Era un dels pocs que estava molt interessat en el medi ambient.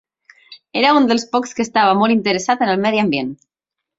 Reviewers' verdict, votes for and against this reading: accepted, 3, 0